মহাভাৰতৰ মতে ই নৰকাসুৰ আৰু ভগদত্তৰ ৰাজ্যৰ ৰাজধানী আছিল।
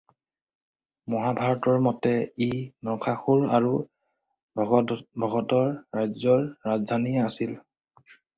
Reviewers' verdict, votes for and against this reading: rejected, 2, 4